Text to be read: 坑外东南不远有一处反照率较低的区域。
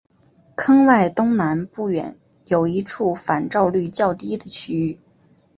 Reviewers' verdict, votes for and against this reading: accepted, 3, 0